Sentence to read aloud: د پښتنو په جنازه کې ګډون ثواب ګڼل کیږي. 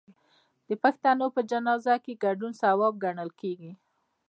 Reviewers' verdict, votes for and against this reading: rejected, 0, 2